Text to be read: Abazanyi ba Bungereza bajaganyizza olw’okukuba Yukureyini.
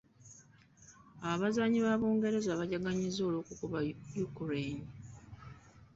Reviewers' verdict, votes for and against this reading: accepted, 2, 1